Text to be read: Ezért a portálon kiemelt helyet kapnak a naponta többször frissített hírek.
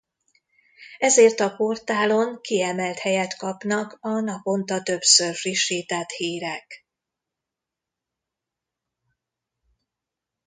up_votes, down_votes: 2, 0